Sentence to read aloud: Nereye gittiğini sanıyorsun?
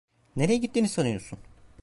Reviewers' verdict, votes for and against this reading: accepted, 2, 0